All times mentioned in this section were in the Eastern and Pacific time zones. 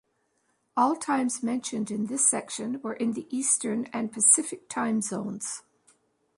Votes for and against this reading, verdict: 2, 0, accepted